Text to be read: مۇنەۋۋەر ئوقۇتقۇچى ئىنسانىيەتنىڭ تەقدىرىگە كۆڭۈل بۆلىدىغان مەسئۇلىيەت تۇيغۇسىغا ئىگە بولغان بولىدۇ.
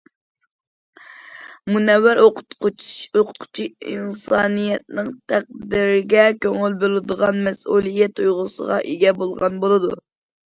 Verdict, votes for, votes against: rejected, 0, 2